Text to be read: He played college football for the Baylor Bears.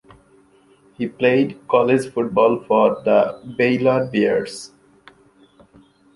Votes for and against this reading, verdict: 2, 1, accepted